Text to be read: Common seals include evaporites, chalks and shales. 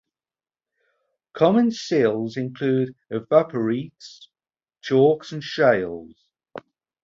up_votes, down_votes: 2, 2